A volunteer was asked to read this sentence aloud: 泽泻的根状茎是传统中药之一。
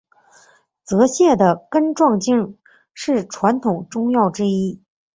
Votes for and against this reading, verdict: 6, 0, accepted